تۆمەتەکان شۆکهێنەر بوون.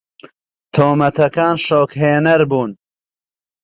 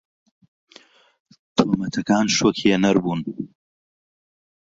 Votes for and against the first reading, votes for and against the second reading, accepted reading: 2, 0, 0, 2, first